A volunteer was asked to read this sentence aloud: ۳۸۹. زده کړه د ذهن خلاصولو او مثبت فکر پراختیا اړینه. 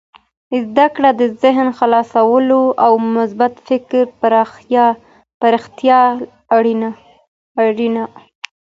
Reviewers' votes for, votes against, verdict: 0, 2, rejected